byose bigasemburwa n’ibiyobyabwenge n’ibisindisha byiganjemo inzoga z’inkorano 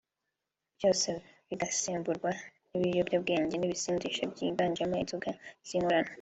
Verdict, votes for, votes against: accepted, 2, 1